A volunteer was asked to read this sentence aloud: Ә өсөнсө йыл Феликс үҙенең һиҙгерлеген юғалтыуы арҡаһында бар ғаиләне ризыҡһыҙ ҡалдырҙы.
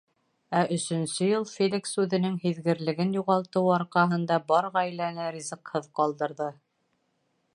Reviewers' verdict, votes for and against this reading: accepted, 2, 0